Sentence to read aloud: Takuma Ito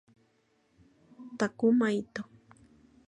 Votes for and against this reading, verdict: 2, 0, accepted